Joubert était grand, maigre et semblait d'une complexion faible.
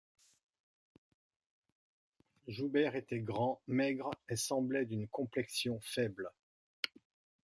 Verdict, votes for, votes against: accepted, 2, 0